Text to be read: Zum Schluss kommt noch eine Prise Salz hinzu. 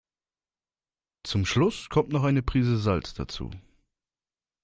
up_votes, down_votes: 0, 2